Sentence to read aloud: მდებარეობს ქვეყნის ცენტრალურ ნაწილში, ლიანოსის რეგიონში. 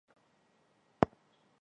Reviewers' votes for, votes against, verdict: 0, 2, rejected